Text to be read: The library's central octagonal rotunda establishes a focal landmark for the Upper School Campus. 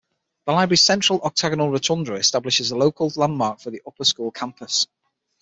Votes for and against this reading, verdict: 3, 6, rejected